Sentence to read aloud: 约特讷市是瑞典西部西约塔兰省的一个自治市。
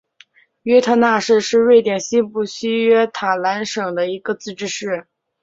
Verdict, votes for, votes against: accepted, 3, 0